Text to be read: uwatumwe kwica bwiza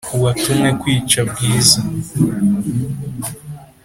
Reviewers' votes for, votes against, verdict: 3, 0, accepted